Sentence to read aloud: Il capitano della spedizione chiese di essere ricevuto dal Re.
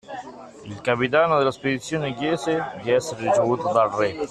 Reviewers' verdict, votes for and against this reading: accepted, 2, 0